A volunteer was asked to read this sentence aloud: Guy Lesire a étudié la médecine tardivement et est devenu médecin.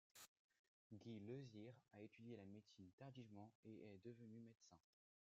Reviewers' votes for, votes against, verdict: 0, 2, rejected